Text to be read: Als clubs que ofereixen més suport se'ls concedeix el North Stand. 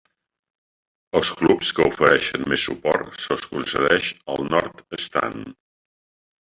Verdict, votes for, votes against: accepted, 3, 2